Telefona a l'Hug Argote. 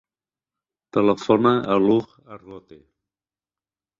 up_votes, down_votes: 0, 2